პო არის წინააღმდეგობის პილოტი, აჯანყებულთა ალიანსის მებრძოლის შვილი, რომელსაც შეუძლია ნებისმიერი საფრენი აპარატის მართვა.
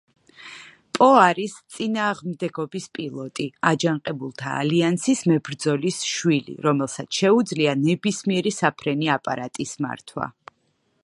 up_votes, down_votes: 1, 2